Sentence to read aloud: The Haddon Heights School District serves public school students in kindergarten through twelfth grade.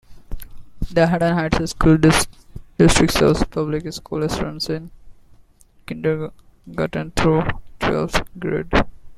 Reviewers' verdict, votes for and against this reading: rejected, 0, 2